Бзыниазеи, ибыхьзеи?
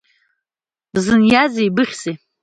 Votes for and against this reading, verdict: 3, 2, accepted